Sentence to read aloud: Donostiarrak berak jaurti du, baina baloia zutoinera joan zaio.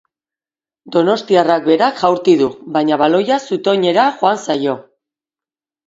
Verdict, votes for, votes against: accepted, 2, 0